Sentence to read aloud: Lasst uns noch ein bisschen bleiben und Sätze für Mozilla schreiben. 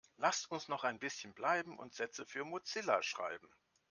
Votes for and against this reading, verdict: 2, 0, accepted